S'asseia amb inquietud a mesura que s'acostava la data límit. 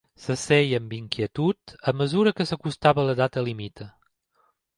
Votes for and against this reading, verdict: 2, 0, accepted